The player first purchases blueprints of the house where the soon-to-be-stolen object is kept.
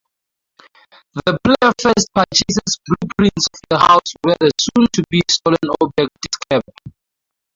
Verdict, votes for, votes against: accepted, 2, 0